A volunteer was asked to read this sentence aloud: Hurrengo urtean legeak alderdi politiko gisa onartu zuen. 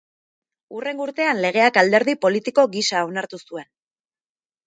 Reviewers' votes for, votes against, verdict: 2, 0, accepted